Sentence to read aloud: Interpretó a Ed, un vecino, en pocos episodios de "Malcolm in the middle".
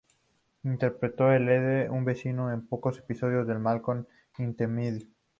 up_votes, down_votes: 2, 2